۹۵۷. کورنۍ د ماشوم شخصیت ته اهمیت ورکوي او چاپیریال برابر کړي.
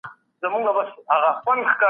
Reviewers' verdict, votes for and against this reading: rejected, 0, 2